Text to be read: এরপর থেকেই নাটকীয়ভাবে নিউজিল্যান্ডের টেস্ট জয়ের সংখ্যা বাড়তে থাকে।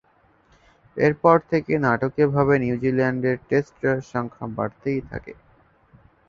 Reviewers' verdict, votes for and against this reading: rejected, 5, 5